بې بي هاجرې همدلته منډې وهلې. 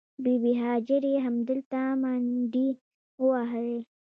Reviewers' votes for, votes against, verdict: 1, 2, rejected